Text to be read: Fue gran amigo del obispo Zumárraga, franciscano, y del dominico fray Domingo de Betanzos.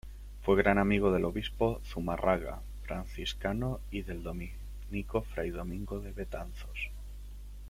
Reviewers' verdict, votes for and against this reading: rejected, 0, 2